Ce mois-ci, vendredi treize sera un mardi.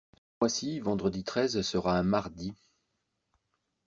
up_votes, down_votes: 0, 2